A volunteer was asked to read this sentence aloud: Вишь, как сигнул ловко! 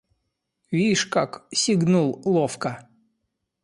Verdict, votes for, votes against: accepted, 2, 0